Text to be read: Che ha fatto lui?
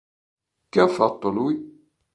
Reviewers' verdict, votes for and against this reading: accepted, 2, 0